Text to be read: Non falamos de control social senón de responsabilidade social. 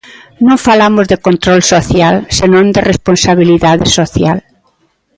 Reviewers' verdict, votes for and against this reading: accepted, 2, 1